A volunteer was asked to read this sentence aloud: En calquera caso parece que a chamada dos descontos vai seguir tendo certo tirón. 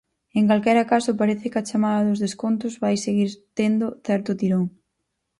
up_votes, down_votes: 4, 0